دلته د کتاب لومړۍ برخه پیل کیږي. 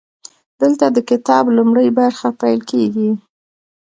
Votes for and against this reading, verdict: 2, 0, accepted